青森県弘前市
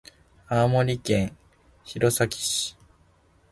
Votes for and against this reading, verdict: 2, 0, accepted